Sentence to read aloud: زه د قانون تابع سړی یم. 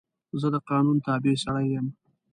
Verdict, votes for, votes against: accepted, 2, 0